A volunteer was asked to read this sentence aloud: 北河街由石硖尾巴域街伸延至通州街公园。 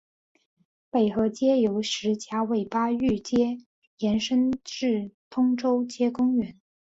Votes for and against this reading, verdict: 0, 2, rejected